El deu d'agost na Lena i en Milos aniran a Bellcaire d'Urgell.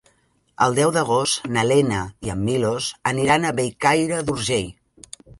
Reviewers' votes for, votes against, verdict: 3, 0, accepted